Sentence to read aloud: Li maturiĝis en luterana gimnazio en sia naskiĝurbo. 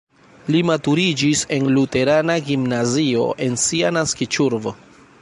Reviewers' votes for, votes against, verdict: 1, 2, rejected